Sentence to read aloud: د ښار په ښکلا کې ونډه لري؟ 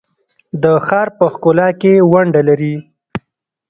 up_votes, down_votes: 1, 2